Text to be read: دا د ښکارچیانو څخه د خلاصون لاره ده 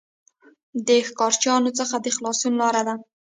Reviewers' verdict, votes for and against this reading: rejected, 1, 2